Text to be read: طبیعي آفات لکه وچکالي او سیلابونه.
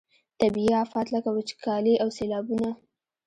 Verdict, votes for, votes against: accepted, 2, 0